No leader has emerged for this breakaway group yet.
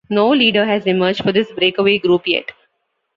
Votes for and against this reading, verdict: 2, 0, accepted